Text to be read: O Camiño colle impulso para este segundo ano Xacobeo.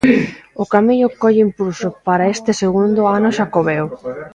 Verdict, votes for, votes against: rejected, 1, 2